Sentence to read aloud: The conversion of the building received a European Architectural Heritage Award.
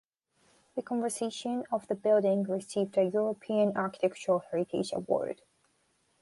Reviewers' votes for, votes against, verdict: 1, 2, rejected